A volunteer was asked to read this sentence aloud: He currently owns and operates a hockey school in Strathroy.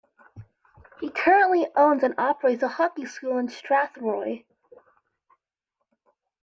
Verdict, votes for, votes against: accepted, 2, 0